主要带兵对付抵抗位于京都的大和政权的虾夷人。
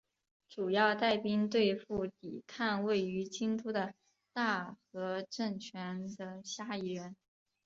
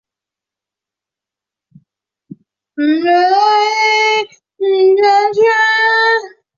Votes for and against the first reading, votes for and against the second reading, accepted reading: 3, 0, 0, 6, first